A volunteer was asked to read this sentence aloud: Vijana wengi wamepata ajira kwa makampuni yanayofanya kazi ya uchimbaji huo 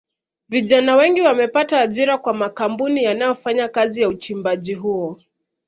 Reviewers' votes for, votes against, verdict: 1, 2, rejected